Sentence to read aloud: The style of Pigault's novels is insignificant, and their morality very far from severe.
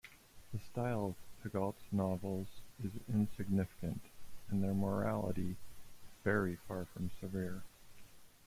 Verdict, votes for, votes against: rejected, 0, 2